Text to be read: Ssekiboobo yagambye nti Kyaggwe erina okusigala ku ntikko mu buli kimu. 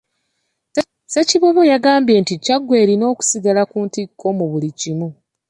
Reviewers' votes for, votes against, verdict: 2, 1, accepted